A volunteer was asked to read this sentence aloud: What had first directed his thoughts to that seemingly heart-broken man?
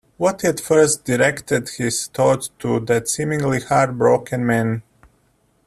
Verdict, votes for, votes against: accepted, 2, 0